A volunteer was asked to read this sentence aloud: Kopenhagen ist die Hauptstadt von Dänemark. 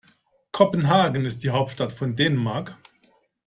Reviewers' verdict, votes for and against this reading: accepted, 2, 0